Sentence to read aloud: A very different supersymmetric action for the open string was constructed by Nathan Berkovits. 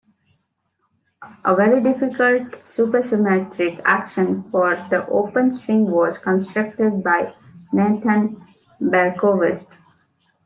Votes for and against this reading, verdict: 2, 3, rejected